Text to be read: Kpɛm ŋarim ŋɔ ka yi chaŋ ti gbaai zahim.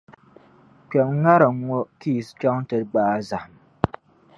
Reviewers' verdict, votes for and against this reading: rejected, 1, 2